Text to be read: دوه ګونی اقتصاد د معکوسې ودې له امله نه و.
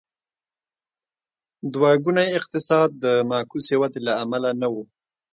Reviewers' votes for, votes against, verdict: 2, 0, accepted